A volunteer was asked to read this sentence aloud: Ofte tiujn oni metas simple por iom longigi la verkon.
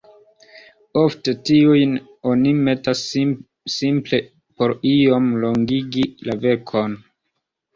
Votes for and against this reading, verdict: 2, 0, accepted